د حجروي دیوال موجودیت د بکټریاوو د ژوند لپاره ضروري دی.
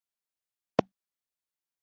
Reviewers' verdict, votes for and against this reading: rejected, 0, 3